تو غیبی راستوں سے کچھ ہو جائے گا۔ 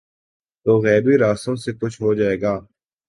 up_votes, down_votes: 2, 0